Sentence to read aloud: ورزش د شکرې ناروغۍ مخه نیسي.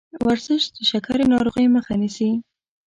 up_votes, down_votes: 0, 2